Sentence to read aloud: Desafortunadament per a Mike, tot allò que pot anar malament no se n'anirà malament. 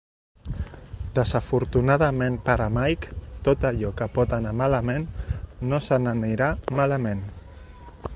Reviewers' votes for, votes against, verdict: 2, 0, accepted